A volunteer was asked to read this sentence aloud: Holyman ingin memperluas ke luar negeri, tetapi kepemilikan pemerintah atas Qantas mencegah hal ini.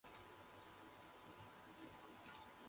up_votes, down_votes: 0, 2